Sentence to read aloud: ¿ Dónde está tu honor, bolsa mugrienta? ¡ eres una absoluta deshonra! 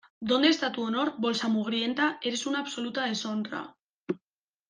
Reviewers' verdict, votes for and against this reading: accepted, 2, 0